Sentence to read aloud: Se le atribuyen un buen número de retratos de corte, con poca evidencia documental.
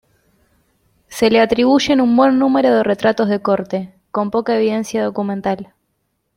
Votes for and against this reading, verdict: 2, 0, accepted